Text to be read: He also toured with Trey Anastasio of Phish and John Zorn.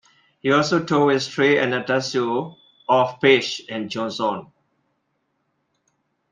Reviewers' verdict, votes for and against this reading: rejected, 0, 2